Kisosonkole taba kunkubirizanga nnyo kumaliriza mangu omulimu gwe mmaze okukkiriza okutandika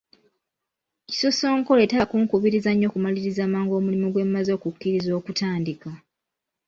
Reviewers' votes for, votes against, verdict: 2, 0, accepted